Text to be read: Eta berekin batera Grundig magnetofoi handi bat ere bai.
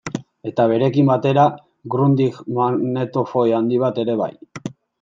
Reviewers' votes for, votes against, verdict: 2, 1, accepted